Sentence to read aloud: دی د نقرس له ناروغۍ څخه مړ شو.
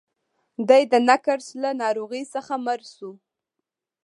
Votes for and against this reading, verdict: 2, 0, accepted